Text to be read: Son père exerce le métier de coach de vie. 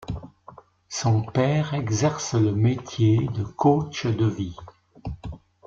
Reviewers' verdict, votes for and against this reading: accepted, 2, 0